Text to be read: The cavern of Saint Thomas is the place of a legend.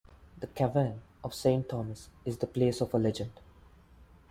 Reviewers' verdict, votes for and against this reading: accepted, 2, 0